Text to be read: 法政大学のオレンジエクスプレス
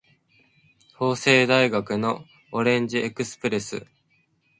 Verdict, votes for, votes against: accepted, 3, 0